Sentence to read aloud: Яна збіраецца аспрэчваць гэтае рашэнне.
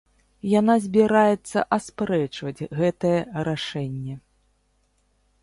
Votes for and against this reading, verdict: 2, 0, accepted